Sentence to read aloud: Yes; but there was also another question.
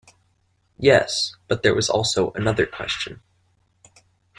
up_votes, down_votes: 2, 0